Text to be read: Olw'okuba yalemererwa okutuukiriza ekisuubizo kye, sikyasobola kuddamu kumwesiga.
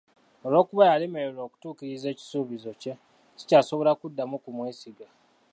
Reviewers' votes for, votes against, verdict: 1, 2, rejected